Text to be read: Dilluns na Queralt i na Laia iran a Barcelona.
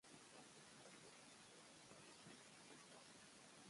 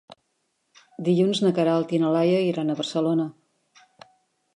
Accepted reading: second